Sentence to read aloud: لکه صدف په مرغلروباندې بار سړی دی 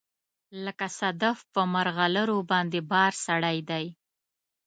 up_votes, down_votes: 2, 0